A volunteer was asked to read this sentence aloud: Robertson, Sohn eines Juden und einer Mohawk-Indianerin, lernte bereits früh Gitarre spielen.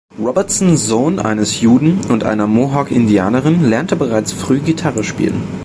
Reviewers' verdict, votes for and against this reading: accepted, 2, 0